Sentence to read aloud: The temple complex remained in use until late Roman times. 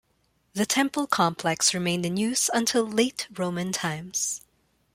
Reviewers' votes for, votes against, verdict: 2, 1, accepted